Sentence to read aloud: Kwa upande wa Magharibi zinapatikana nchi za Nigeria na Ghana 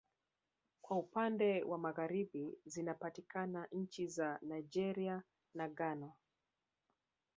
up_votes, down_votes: 1, 2